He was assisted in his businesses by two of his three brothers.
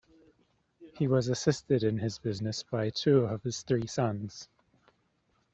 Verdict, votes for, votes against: rejected, 1, 2